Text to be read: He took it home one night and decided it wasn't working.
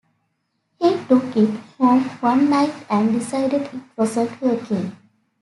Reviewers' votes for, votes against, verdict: 1, 2, rejected